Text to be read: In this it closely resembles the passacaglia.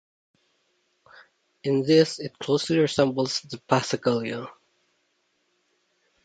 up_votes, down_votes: 1, 2